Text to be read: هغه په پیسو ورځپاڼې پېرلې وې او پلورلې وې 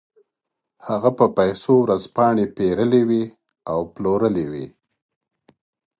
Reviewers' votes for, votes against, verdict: 2, 0, accepted